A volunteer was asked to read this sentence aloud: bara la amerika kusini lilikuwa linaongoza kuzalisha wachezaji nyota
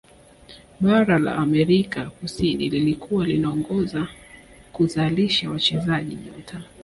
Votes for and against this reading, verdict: 2, 0, accepted